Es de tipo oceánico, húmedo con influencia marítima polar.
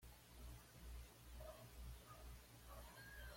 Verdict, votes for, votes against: rejected, 1, 2